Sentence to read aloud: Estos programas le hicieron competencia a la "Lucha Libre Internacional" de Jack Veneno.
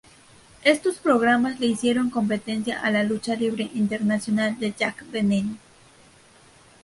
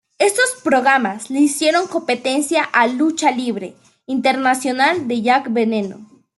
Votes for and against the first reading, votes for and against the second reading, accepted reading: 2, 0, 0, 2, first